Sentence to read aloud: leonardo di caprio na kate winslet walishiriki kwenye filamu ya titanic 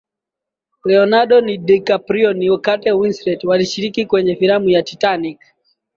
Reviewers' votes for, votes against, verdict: 6, 3, accepted